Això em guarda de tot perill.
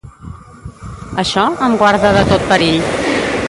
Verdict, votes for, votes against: rejected, 1, 2